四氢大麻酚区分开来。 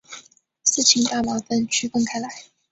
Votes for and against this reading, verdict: 3, 0, accepted